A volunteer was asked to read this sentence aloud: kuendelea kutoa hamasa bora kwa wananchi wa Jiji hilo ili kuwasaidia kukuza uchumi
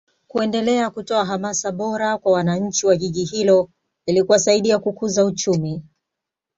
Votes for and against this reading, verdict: 2, 0, accepted